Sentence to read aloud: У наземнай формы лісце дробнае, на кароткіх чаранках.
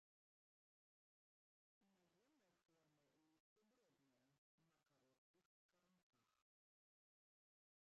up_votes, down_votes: 0, 2